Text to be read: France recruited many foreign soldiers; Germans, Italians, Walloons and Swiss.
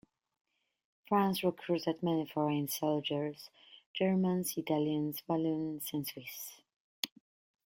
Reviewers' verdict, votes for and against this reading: accepted, 2, 0